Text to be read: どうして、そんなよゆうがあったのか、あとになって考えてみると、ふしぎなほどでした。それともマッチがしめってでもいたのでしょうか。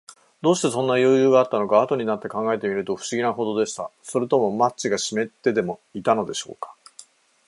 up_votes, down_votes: 4, 0